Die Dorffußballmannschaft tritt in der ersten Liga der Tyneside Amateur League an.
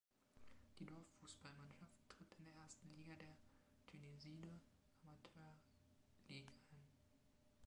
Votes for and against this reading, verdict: 2, 0, accepted